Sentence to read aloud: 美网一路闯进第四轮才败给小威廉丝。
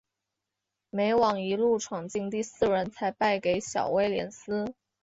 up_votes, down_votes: 2, 0